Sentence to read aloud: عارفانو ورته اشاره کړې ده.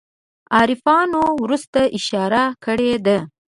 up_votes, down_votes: 0, 2